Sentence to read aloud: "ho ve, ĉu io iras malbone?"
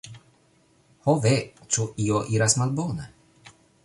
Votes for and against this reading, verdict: 2, 1, accepted